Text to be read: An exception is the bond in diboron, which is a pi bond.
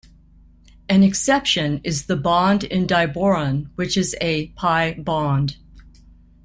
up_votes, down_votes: 2, 0